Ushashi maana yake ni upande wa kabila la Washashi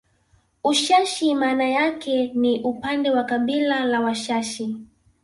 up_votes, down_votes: 2, 0